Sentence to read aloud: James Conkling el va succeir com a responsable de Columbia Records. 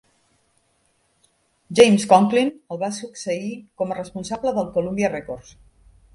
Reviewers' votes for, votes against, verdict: 1, 2, rejected